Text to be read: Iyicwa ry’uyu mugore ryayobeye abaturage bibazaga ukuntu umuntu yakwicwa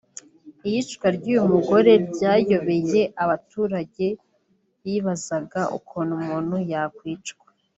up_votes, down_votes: 4, 0